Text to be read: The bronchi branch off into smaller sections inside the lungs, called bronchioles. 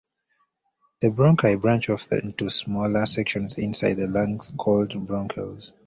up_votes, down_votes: 1, 2